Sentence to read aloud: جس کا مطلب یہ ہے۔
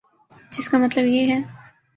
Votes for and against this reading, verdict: 4, 0, accepted